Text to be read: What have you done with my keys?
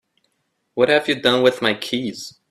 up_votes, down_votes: 2, 0